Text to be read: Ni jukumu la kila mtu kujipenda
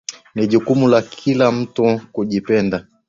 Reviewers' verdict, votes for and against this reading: accepted, 2, 0